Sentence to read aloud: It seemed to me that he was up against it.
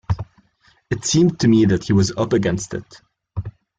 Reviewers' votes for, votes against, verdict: 2, 0, accepted